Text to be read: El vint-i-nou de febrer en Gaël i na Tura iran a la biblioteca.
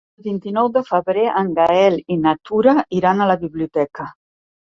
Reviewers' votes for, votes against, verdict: 1, 2, rejected